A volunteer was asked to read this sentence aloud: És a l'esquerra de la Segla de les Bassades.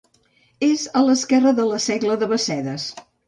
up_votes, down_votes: 1, 2